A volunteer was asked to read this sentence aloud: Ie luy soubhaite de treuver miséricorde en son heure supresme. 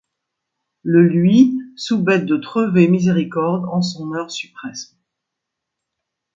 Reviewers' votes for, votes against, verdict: 2, 1, accepted